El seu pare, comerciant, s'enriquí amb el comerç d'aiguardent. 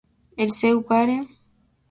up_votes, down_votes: 0, 2